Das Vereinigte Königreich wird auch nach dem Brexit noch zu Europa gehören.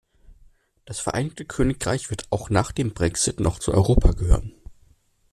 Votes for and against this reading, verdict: 2, 1, accepted